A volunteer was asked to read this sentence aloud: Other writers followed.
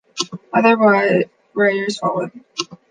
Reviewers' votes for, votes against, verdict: 1, 2, rejected